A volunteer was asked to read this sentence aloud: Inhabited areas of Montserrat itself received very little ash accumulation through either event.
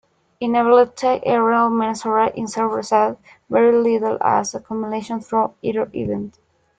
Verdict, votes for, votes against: rejected, 0, 2